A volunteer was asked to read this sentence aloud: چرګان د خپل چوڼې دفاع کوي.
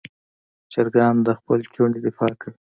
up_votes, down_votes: 2, 0